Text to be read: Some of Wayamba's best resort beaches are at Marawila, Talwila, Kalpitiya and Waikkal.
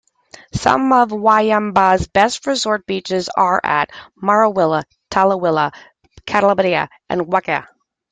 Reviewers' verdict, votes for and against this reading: accepted, 2, 0